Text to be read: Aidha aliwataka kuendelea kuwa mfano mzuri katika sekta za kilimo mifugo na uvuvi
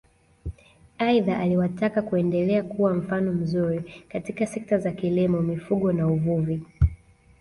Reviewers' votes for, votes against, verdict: 2, 0, accepted